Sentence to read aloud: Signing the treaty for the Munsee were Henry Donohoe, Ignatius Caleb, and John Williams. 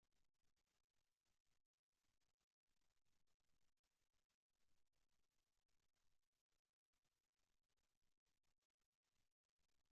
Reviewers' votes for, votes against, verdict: 0, 2, rejected